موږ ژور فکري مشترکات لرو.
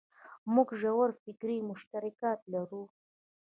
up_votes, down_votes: 2, 1